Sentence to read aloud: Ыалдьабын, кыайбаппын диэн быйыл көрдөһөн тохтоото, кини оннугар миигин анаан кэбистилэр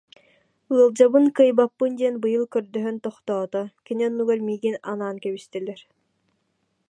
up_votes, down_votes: 2, 0